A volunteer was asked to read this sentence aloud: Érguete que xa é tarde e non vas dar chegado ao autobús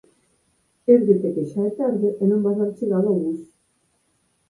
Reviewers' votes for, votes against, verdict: 0, 4, rejected